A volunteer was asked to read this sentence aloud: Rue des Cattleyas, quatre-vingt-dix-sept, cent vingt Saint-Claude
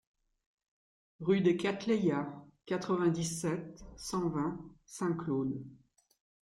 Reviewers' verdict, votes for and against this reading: accepted, 2, 0